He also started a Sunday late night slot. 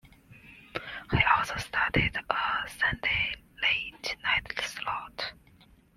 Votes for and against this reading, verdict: 2, 0, accepted